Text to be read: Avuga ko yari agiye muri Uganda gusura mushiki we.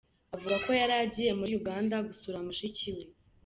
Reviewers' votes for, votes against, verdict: 2, 1, accepted